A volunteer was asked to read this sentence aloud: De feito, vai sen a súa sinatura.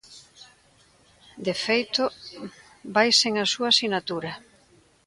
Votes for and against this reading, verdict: 2, 0, accepted